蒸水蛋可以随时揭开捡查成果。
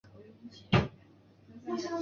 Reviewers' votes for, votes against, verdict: 1, 2, rejected